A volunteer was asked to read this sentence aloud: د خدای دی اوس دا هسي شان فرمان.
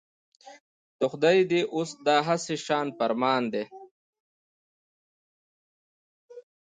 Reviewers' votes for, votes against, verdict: 2, 0, accepted